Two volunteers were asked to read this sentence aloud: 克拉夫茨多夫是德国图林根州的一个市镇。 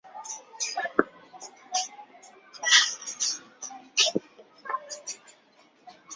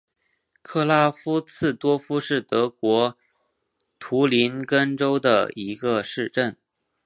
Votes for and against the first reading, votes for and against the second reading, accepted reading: 0, 2, 6, 1, second